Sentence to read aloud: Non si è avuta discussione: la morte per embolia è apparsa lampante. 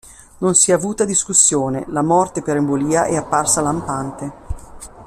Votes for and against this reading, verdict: 2, 0, accepted